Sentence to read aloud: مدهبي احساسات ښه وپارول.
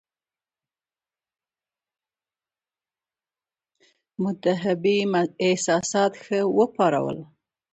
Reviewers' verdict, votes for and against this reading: rejected, 1, 2